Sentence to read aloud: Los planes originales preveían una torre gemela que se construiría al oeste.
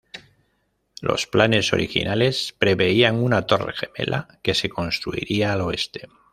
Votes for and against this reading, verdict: 2, 0, accepted